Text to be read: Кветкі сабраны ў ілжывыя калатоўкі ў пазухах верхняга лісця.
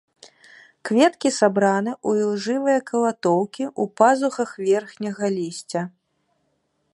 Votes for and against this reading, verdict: 2, 0, accepted